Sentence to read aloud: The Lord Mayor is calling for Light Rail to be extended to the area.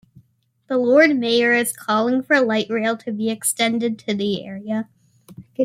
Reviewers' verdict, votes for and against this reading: accepted, 2, 0